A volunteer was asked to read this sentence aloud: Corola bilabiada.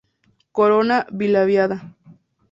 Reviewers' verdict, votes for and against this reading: rejected, 2, 2